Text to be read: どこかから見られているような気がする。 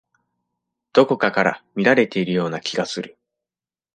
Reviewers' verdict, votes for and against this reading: accepted, 2, 0